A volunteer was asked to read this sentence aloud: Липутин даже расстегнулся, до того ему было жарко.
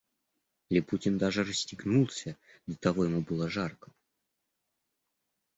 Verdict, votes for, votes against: accepted, 2, 0